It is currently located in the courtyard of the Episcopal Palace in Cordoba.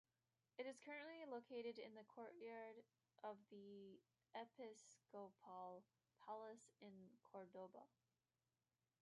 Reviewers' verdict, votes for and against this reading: rejected, 0, 2